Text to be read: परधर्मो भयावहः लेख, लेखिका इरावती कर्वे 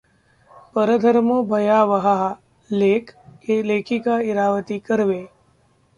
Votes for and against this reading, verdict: 1, 2, rejected